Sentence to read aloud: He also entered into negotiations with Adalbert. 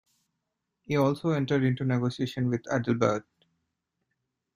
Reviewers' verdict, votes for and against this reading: rejected, 0, 2